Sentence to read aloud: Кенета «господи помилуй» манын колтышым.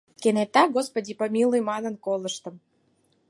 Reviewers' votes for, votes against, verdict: 0, 4, rejected